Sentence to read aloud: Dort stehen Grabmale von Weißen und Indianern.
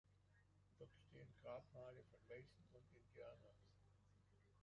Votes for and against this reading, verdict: 1, 2, rejected